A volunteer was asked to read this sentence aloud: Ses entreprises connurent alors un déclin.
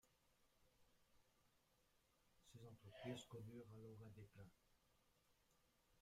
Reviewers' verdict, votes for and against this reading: rejected, 0, 2